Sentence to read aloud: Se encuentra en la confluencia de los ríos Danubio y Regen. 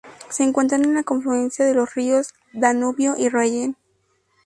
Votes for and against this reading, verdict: 0, 4, rejected